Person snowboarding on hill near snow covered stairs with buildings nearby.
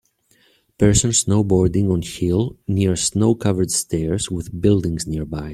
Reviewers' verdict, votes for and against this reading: accepted, 2, 0